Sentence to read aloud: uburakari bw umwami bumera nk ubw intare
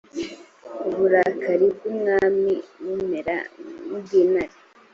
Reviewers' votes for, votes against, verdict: 2, 0, accepted